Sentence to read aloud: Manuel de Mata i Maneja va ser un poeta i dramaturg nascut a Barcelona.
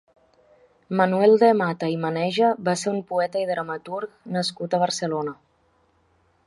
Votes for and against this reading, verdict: 3, 0, accepted